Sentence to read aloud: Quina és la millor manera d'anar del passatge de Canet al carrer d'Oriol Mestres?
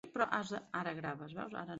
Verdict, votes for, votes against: rejected, 0, 2